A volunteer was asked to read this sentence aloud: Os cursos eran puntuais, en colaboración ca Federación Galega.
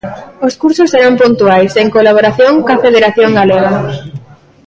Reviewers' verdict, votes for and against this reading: rejected, 0, 2